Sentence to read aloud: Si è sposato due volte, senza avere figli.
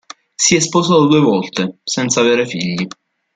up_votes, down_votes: 1, 2